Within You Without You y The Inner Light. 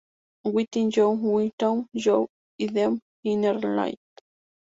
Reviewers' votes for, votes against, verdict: 2, 0, accepted